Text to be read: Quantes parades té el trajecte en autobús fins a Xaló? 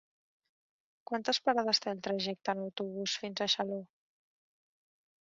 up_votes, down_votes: 1, 2